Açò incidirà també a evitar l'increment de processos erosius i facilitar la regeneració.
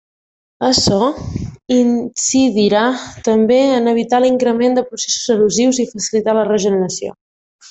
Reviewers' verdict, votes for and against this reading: rejected, 0, 2